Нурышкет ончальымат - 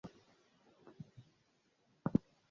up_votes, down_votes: 0, 2